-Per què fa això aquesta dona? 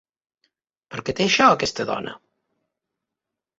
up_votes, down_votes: 1, 2